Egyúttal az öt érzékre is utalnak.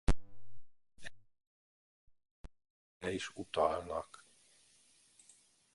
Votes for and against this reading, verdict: 0, 2, rejected